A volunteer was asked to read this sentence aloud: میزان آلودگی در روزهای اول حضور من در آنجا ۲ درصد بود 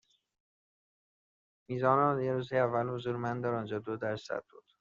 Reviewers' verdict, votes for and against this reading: rejected, 0, 2